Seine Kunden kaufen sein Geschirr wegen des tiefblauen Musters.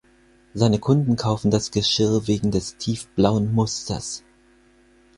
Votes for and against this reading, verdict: 0, 4, rejected